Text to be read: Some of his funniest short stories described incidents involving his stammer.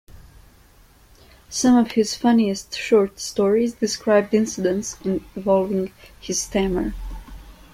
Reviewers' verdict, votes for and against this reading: accepted, 2, 1